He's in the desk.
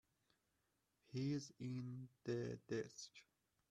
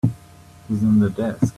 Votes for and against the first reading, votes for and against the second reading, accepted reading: 2, 0, 1, 2, first